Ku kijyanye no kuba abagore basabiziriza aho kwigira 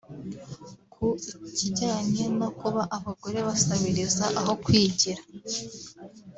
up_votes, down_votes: 2, 1